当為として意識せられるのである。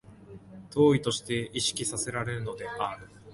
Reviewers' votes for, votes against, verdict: 0, 2, rejected